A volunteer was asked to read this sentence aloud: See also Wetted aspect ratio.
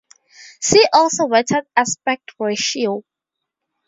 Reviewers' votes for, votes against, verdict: 4, 0, accepted